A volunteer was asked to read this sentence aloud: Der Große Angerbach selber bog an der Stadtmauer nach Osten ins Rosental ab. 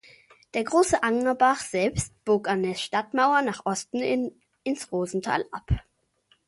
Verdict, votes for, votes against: rejected, 0, 2